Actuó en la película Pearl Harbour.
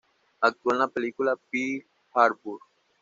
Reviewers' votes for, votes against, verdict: 2, 0, accepted